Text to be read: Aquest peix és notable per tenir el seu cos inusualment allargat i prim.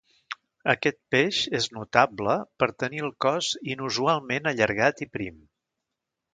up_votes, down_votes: 1, 2